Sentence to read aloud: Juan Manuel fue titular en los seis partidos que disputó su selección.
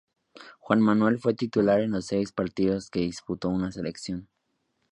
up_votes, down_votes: 1, 2